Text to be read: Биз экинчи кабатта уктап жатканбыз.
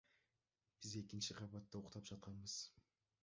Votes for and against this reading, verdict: 1, 2, rejected